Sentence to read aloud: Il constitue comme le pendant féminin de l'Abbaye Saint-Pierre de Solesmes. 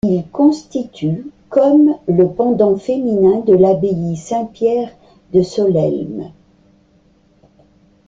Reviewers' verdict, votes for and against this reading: rejected, 1, 2